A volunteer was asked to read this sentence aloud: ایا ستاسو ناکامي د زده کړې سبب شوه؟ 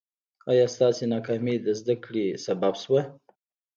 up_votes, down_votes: 2, 0